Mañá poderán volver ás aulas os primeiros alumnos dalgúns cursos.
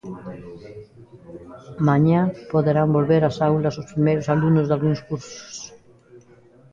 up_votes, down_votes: 2, 1